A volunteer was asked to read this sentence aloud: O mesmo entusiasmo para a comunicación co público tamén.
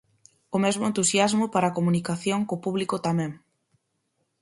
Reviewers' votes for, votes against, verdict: 4, 0, accepted